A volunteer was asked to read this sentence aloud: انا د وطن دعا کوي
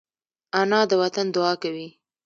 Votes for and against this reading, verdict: 2, 0, accepted